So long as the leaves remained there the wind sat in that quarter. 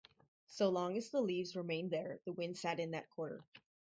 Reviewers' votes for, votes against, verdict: 0, 2, rejected